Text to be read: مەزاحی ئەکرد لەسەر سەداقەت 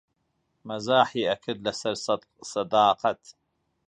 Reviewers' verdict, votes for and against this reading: rejected, 0, 2